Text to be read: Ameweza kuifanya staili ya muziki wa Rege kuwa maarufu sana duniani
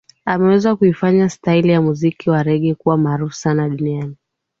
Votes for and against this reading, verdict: 2, 0, accepted